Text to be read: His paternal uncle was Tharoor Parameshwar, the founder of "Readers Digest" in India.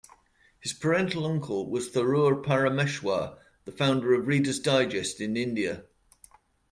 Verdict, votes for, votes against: rejected, 0, 2